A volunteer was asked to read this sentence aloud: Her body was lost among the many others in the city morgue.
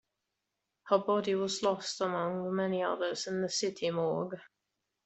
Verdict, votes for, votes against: accepted, 2, 0